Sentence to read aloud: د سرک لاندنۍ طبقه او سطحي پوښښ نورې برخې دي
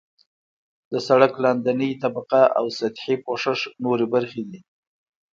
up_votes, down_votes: 2, 1